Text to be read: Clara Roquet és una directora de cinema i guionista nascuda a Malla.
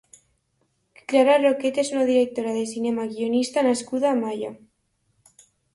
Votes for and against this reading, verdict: 3, 1, accepted